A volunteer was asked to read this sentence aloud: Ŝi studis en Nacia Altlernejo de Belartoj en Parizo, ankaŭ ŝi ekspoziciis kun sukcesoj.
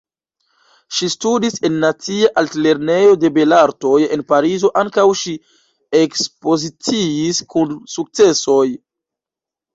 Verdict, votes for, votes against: rejected, 1, 2